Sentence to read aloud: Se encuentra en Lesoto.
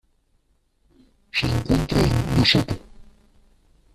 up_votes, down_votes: 0, 2